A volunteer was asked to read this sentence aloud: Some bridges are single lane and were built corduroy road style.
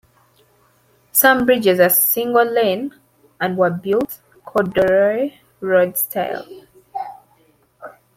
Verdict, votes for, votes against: accepted, 2, 0